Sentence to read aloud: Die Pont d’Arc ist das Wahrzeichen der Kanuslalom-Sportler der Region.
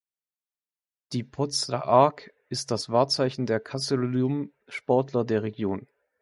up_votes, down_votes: 0, 2